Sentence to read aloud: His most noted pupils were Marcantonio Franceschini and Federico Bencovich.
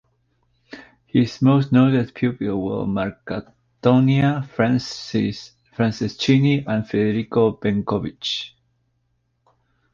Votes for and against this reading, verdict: 3, 2, accepted